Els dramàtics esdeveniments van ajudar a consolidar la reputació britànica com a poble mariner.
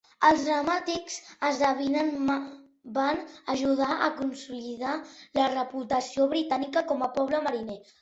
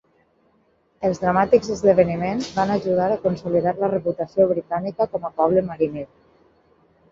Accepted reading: second